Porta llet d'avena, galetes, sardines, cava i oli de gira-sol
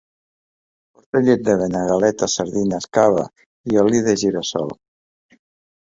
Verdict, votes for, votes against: rejected, 0, 2